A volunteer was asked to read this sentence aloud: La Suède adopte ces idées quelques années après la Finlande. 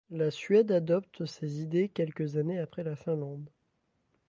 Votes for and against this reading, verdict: 2, 0, accepted